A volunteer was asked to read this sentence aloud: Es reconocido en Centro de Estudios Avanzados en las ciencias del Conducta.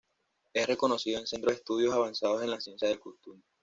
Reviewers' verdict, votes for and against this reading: rejected, 1, 2